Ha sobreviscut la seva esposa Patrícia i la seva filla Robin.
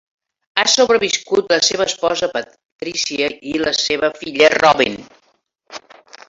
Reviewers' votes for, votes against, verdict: 4, 0, accepted